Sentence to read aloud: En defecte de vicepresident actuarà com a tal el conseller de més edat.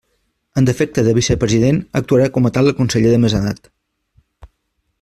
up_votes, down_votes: 2, 0